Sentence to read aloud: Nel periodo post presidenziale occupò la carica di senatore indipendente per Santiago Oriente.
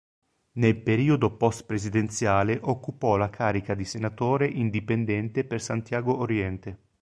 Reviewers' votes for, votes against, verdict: 2, 0, accepted